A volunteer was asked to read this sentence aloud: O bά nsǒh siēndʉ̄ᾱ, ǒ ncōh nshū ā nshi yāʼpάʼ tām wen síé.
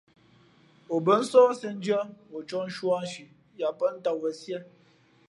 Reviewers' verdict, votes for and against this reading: accepted, 2, 0